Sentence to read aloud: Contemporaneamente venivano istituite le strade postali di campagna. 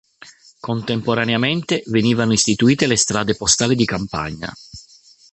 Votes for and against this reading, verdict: 4, 0, accepted